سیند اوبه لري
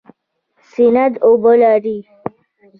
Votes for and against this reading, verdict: 2, 1, accepted